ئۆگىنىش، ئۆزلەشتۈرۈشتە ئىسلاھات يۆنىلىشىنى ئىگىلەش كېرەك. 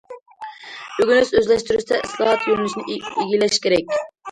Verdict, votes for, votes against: rejected, 0, 2